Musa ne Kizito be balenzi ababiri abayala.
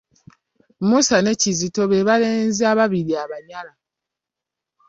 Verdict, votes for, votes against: rejected, 0, 2